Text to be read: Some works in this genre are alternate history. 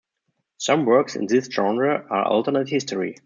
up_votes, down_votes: 2, 1